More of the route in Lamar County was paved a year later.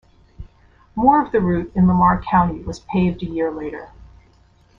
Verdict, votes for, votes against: accepted, 2, 0